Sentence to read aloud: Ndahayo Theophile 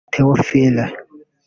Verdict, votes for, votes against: rejected, 0, 2